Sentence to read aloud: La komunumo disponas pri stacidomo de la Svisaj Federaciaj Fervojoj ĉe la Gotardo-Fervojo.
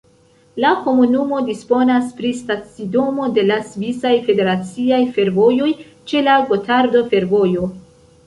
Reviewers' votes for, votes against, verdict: 2, 0, accepted